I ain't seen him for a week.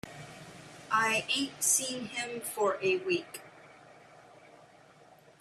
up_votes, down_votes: 3, 0